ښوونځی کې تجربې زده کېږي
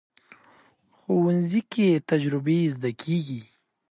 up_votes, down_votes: 2, 0